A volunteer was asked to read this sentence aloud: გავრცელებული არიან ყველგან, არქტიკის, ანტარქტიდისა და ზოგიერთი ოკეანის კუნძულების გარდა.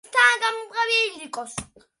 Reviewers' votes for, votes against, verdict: 0, 2, rejected